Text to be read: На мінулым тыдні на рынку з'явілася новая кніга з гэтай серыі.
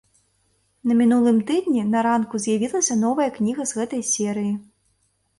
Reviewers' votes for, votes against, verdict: 0, 2, rejected